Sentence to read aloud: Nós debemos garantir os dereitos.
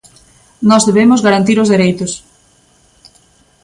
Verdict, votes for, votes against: accepted, 2, 0